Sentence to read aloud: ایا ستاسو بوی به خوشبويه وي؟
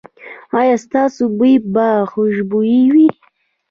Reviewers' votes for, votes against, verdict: 1, 2, rejected